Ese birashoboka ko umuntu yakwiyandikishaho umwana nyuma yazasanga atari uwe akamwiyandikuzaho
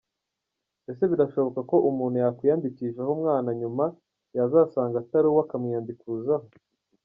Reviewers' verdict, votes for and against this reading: accepted, 2, 0